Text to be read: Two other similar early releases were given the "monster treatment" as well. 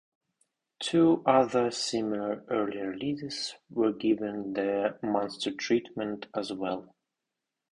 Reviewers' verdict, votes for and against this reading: rejected, 0, 2